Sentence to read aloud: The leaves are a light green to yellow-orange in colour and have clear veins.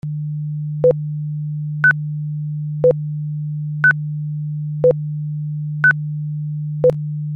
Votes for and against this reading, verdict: 0, 2, rejected